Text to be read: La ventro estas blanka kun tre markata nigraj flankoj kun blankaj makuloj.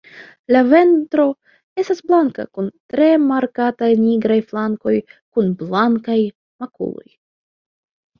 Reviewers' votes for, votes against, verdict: 2, 1, accepted